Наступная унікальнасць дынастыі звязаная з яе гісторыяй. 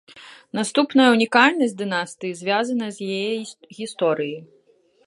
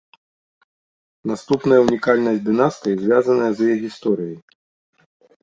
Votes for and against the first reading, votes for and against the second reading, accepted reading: 1, 2, 2, 0, second